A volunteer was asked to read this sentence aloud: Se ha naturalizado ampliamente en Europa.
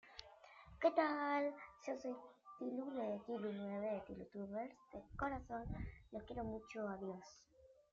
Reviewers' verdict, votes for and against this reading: rejected, 0, 2